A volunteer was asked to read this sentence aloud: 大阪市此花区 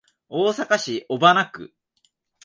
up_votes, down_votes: 0, 2